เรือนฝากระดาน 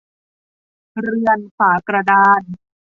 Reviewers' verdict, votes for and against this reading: rejected, 1, 2